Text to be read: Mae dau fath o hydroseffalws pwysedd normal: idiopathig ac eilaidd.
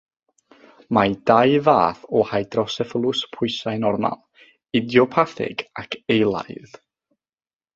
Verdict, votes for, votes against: rejected, 0, 3